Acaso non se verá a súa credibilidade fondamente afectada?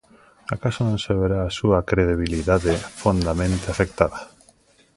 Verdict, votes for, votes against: rejected, 1, 2